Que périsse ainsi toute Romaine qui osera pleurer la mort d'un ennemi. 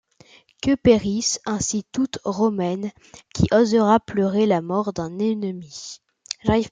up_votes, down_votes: 2, 1